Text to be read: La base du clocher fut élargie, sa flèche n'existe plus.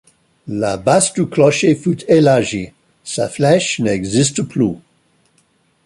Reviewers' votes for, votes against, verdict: 2, 1, accepted